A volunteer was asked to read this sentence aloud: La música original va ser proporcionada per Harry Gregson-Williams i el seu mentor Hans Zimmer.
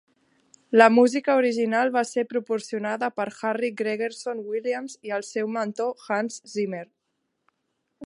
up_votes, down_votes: 0, 2